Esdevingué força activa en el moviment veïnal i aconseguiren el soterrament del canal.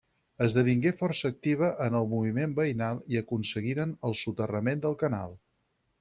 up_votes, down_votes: 6, 0